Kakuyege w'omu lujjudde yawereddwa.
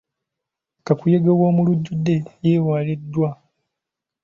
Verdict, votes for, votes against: rejected, 0, 2